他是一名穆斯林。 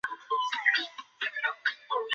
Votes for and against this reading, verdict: 0, 2, rejected